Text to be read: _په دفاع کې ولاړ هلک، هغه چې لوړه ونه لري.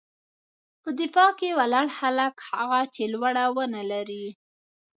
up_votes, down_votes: 1, 3